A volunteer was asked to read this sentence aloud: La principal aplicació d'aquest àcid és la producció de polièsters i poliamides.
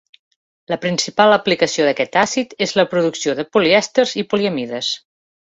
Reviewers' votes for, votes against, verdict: 2, 0, accepted